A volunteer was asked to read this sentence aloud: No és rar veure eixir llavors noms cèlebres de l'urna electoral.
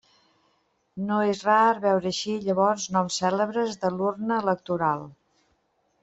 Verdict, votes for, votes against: accepted, 2, 0